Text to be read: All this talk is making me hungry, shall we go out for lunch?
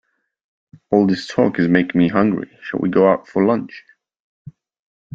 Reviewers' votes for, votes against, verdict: 1, 2, rejected